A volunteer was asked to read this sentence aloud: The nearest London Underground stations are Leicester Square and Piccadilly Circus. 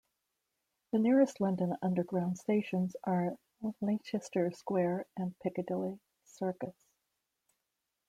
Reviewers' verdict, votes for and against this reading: rejected, 0, 2